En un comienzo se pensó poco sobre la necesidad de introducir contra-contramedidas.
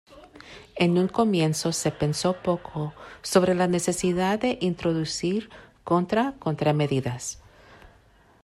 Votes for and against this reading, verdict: 2, 0, accepted